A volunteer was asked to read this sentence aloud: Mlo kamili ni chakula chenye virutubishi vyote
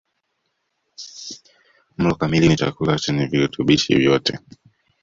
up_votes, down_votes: 1, 2